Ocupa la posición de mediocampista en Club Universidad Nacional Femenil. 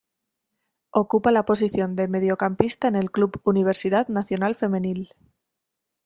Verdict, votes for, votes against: rejected, 1, 2